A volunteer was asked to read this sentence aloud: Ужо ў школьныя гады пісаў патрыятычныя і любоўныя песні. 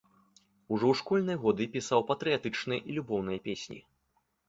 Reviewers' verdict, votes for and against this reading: rejected, 0, 2